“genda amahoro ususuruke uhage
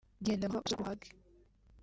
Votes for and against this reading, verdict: 1, 3, rejected